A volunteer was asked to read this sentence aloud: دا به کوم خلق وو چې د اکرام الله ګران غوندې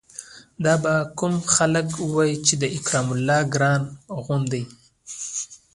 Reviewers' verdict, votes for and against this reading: rejected, 0, 2